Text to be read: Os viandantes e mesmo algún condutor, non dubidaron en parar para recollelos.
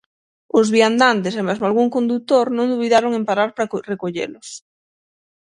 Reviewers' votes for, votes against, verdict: 0, 6, rejected